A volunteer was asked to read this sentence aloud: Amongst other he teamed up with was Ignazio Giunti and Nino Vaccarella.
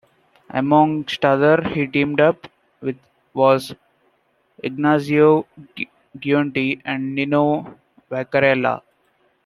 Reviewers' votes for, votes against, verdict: 0, 2, rejected